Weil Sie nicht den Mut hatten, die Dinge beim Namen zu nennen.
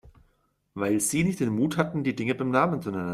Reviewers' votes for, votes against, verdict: 0, 2, rejected